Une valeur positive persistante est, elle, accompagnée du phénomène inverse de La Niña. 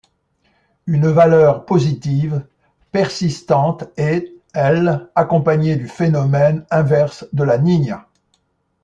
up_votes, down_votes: 2, 0